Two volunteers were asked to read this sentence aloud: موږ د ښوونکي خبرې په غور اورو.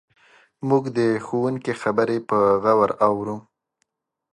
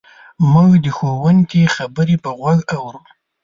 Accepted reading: first